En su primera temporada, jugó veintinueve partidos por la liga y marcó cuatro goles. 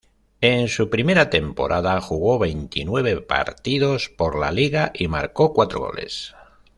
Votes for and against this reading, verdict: 2, 0, accepted